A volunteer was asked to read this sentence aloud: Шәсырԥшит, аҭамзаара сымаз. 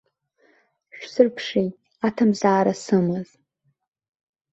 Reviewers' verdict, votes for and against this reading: rejected, 0, 2